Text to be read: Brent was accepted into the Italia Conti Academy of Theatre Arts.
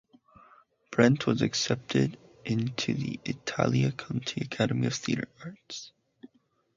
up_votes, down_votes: 0, 2